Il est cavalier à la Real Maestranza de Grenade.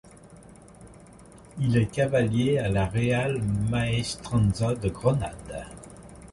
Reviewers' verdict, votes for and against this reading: rejected, 1, 2